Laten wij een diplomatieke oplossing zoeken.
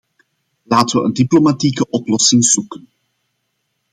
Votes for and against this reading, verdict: 2, 0, accepted